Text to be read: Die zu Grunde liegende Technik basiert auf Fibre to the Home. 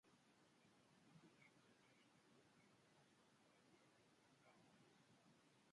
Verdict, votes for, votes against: rejected, 0, 2